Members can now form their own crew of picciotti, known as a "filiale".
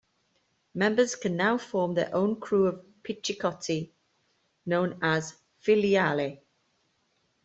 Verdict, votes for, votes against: rejected, 0, 2